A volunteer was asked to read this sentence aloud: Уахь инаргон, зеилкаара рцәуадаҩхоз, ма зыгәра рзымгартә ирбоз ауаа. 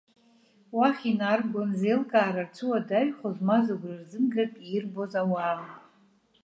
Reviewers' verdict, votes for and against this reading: accepted, 2, 0